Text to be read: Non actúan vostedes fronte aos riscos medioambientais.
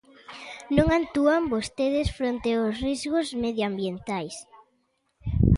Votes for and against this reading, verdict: 0, 2, rejected